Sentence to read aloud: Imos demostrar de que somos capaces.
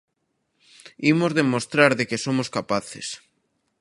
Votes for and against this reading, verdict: 2, 0, accepted